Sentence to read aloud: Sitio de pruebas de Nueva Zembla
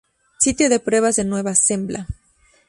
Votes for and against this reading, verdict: 2, 0, accepted